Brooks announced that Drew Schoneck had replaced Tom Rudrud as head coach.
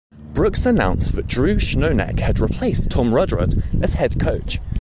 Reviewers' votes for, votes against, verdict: 1, 2, rejected